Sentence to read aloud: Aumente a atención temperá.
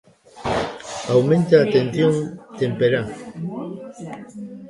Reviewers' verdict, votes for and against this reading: rejected, 1, 2